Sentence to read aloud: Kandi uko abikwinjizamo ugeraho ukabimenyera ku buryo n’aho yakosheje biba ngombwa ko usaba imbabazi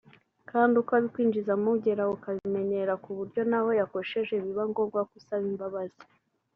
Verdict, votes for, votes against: accepted, 2, 0